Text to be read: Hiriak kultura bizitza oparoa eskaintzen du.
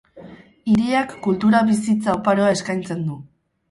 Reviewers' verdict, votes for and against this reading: accepted, 4, 0